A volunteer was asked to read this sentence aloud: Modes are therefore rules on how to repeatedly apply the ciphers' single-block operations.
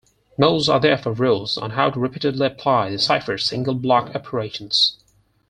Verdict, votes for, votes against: accepted, 4, 0